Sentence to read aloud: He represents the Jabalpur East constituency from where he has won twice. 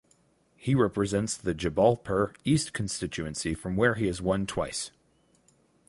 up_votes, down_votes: 4, 0